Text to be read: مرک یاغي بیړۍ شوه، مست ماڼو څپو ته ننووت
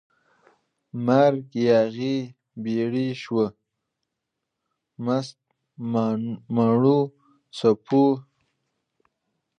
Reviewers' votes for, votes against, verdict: 1, 2, rejected